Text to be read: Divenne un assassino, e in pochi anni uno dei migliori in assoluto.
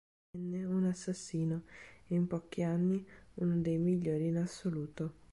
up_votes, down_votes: 1, 2